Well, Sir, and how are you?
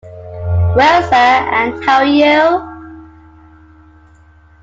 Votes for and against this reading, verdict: 2, 1, accepted